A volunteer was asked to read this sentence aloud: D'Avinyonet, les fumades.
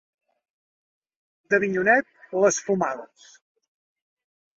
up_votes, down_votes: 2, 0